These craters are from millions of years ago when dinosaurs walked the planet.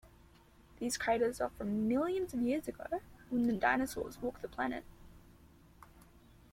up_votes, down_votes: 0, 2